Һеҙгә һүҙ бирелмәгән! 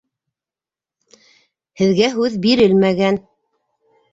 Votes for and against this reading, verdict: 2, 0, accepted